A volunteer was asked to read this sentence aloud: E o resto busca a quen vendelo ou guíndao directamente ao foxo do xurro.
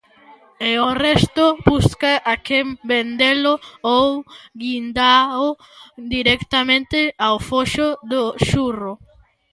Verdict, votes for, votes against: rejected, 1, 2